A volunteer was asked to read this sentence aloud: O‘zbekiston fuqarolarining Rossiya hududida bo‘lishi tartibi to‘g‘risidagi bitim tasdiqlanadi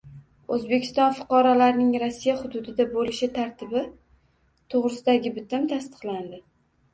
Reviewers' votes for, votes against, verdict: 0, 2, rejected